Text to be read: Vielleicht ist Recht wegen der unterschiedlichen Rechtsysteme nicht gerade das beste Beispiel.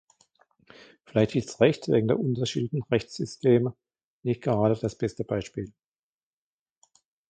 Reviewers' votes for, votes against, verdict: 1, 2, rejected